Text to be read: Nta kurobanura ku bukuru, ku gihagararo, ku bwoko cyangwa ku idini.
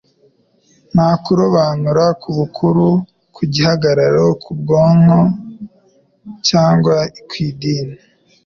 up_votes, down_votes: 0, 2